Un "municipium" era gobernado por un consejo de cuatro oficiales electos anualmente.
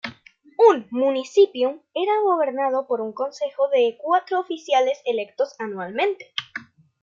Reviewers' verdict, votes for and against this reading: rejected, 0, 2